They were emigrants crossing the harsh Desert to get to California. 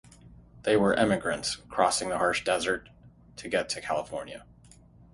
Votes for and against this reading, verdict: 3, 0, accepted